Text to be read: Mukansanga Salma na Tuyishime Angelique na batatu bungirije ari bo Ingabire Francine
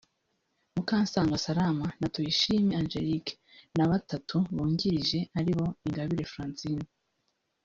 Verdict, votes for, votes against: rejected, 1, 2